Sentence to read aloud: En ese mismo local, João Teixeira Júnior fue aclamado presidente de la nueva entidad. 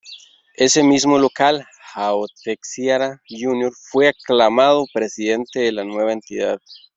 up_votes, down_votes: 0, 2